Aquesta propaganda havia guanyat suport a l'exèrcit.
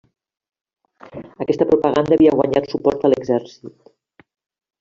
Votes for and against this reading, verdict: 3, 1, accepted